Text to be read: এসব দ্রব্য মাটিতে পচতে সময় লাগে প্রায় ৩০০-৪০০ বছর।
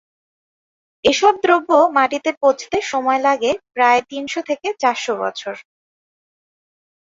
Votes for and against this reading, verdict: 0, 2, rejected